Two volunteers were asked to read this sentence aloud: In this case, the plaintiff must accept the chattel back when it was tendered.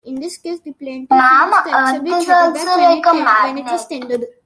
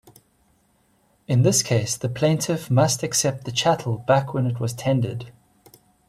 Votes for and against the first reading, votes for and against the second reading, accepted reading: 0, 2, 2, 0, second